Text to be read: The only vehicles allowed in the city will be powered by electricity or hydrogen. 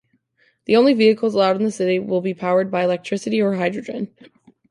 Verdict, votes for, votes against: accepted, 2, 0